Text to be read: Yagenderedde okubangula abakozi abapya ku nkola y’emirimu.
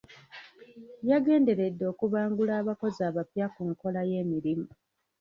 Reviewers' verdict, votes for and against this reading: rejected, 0, 2